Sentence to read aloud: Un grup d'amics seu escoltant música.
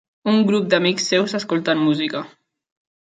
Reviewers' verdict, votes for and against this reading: rejected, 1, 2